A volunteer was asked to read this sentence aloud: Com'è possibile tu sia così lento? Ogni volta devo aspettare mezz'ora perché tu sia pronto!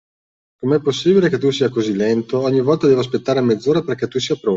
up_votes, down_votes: 1, 2